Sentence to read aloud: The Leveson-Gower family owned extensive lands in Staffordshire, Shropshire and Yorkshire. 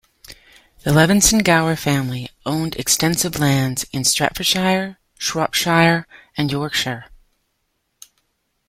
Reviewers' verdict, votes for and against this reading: rejected, 1, 2